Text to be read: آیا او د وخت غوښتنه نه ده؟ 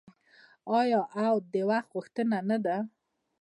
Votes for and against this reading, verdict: 2, 1, accepted